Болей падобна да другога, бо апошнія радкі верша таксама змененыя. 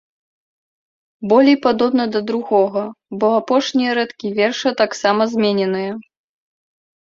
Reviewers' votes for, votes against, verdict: 2, 0, accepted